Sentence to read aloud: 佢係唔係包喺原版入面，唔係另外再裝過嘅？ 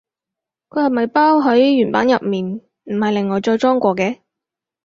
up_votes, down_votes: 2, 2